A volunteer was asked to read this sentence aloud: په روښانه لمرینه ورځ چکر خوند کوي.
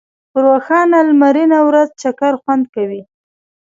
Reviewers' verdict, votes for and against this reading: accepted, 2, 1